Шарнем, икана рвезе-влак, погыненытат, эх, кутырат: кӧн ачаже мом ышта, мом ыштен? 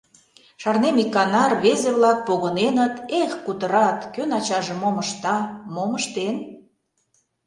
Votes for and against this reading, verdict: 1, 2, rejected